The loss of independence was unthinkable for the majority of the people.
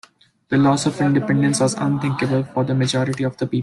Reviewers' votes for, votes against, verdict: 1, 2, rejected